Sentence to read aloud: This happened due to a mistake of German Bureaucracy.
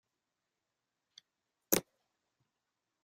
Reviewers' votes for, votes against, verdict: 0, 3, rejected